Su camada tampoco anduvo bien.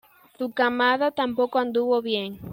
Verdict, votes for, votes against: accepted, 2, 0